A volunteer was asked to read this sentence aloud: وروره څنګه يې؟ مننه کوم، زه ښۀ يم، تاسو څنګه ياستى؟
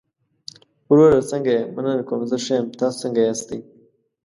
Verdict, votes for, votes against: accepted, 2, 0